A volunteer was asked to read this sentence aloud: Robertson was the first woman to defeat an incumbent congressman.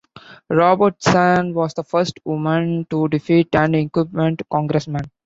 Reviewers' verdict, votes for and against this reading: accepted, 2, 0